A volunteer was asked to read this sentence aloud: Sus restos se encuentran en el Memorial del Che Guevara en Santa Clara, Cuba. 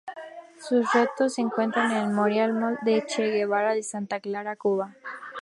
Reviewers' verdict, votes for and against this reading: rejected, 0, 2